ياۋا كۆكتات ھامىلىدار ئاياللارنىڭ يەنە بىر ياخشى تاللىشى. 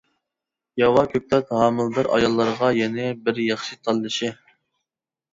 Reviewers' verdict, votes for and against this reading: rejected, 0, 2